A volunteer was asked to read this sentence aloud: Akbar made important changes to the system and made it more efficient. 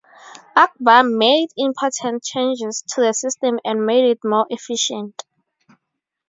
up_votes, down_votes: 4, 0